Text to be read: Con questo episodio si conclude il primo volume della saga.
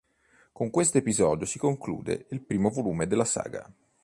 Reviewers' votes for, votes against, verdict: 2, 0, accepted